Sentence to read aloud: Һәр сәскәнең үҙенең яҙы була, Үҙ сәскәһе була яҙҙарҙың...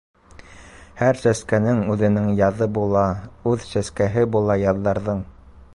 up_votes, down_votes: 2, 0